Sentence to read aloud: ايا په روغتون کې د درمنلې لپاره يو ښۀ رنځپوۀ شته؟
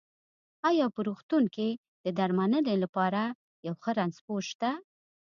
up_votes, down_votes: 2, 0